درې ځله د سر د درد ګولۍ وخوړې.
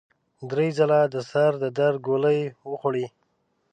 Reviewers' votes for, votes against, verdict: 1, 2, rejected